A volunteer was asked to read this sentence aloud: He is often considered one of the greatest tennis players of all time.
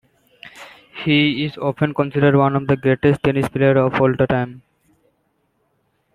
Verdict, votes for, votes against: rejected, 1, 2